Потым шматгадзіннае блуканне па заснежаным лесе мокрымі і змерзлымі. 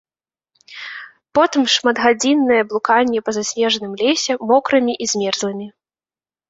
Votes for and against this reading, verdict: 2, 0, accepted